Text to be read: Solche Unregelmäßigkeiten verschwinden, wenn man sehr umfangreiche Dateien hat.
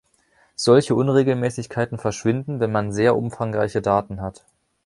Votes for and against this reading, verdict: 0, 3, rejected